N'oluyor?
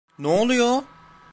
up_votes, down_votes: 1, 2